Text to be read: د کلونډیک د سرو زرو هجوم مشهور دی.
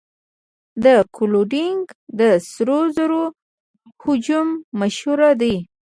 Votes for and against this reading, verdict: 0, 2, rejected